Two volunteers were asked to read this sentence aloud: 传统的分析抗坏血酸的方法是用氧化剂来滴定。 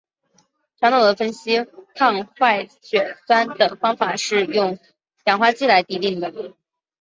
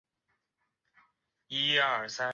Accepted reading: first